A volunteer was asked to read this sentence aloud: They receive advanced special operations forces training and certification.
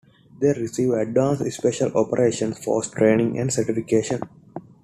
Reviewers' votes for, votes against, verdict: 0, 2, rejected